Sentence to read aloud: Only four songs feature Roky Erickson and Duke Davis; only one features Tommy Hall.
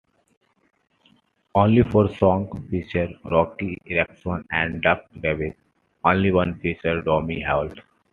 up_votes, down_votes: 0, 2